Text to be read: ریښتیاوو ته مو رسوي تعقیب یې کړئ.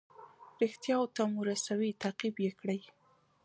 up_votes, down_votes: 1, 2